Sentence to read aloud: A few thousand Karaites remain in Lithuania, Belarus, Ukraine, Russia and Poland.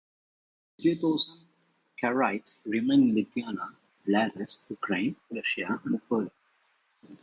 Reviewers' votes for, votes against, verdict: 0, 2, rejected